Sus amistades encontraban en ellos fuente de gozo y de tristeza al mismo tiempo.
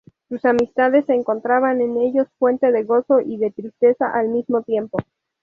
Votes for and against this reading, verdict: 2, 0, accepted